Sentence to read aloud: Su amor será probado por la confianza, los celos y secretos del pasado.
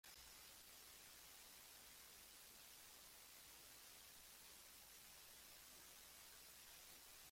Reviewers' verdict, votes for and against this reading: rejected, 0, 3